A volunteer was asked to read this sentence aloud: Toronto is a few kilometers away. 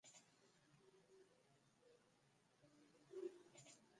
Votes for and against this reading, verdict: 0, 2, rejected